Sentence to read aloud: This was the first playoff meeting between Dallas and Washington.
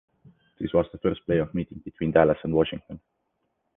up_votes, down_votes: 2, 0